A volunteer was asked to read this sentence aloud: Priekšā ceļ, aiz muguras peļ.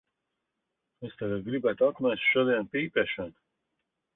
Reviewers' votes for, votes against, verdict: 0, 2, rejected